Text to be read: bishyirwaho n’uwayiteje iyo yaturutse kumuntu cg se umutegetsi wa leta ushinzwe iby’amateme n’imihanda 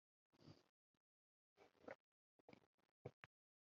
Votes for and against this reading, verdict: 0, 2, rejected